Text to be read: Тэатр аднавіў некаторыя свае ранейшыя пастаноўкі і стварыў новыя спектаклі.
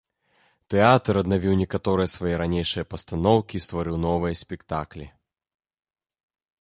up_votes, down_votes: 2, 0